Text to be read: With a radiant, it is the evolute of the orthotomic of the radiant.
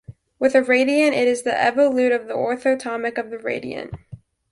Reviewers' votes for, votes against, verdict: 2, 1, accepted